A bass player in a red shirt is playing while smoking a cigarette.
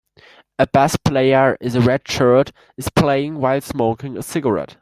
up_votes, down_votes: 2, 1